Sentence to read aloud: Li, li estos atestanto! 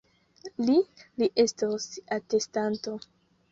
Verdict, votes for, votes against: accepted, 2, 0